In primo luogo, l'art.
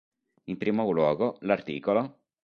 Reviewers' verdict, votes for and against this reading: rejected, 0, 2